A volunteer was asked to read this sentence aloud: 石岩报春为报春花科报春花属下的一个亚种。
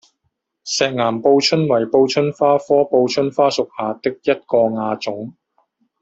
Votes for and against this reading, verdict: 0, 2, rejected